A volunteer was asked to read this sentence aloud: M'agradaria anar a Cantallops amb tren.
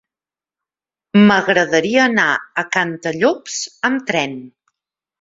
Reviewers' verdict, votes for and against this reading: accepted, 3, 0